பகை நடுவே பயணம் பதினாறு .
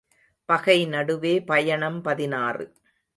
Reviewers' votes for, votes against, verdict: 2, 0, accepted